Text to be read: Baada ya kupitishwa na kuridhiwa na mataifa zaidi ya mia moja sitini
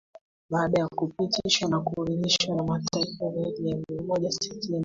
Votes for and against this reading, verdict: 1, 2, rejected